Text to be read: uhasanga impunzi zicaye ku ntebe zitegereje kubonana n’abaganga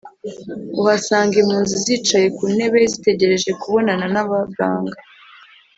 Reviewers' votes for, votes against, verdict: 2, 0, accepted